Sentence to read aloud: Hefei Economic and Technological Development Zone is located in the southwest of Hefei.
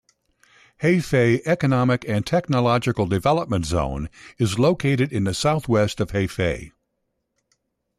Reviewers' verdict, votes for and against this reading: accepted, 2, 0